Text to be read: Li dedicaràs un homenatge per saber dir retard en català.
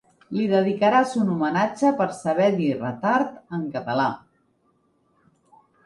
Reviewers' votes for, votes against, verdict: 3, 0, accepted